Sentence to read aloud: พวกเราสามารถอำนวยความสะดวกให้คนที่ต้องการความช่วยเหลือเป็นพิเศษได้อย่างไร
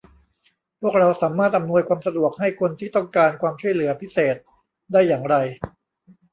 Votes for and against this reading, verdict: 0, 2, rejected